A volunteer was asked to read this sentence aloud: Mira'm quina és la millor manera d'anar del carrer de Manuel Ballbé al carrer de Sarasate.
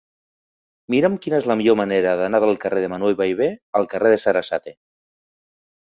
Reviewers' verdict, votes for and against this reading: accepted, 3, 1